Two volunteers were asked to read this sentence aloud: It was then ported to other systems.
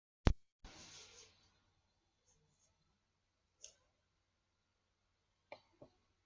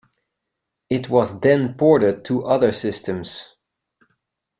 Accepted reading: second